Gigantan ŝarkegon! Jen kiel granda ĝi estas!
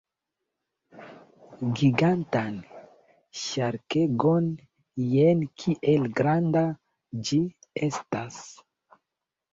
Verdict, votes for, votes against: accepted, 2, 0